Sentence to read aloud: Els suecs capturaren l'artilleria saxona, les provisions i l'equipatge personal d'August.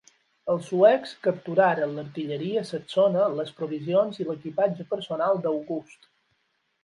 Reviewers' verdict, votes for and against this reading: accepted, 12, 0